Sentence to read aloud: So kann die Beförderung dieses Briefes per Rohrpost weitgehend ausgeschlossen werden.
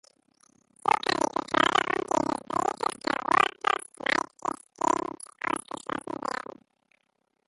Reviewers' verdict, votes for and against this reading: rejected, 0, 2